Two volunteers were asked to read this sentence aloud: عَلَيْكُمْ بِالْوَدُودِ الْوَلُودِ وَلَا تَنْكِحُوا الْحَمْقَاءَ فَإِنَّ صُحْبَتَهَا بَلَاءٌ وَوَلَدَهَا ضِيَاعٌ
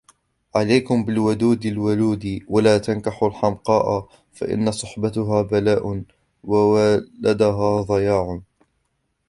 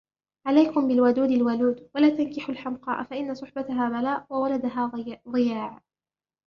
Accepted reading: second